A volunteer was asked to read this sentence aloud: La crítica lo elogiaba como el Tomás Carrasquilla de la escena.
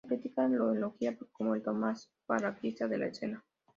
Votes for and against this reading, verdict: 0, 2, rejected